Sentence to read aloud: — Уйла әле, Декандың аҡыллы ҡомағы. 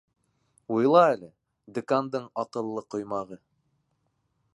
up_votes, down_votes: 0, 2